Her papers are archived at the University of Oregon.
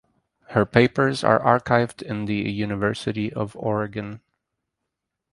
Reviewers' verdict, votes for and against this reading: rejected, 0, 2